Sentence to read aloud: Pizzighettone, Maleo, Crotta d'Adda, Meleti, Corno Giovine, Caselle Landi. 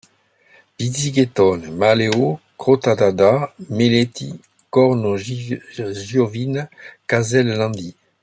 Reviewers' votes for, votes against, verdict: 0, 2, rejected